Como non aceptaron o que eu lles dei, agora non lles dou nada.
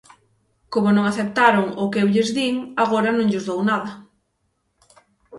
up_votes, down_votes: 3, 6